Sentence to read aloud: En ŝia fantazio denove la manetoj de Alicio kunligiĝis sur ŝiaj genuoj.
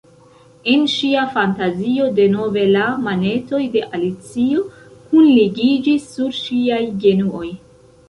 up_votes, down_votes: 1, 2